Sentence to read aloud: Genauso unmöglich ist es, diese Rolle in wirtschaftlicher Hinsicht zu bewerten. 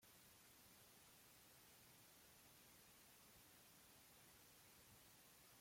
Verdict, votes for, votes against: rejected, 0, 2